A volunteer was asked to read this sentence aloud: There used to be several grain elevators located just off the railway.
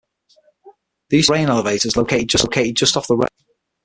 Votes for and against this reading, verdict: 0, 6, rejected